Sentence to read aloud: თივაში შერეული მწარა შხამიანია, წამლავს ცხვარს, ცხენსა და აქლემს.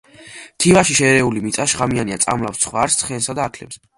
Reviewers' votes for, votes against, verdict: 0, 2, rejected